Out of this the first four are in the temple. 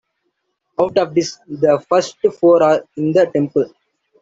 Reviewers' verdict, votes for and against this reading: rejected, 1, 2